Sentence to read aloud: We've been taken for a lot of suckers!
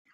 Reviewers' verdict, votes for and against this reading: rejected, 0, 2